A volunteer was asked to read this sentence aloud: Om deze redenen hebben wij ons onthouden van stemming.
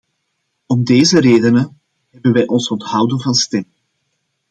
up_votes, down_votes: 2, 0